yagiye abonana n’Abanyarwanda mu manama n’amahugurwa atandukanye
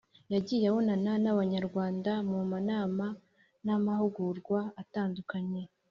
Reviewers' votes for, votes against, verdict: 3, 0, accepted